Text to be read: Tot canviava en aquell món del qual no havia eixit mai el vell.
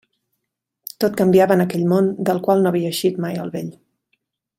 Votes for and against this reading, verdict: 3, 0, accepted